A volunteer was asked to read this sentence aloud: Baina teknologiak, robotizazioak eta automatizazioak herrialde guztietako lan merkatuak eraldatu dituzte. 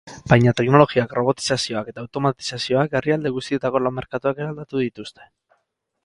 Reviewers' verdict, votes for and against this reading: accepted, 6, 2